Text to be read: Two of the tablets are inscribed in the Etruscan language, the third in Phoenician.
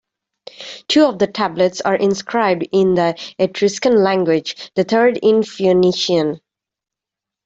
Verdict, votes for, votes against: rejected, 1, 2